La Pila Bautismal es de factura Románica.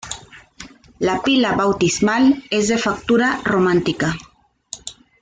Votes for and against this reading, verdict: 1, 2, rejected